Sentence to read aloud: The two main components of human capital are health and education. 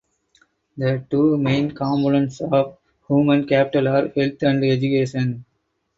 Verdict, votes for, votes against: accepted, 4, 2